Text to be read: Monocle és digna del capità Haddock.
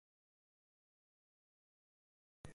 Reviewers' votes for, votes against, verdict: 0, 3, rejected